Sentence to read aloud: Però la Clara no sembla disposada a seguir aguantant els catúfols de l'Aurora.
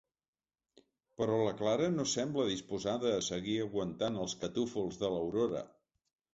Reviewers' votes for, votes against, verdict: 2, 0, accepted